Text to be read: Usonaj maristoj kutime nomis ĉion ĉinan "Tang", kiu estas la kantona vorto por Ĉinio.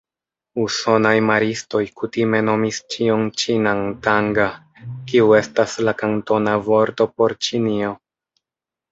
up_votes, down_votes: 0, 2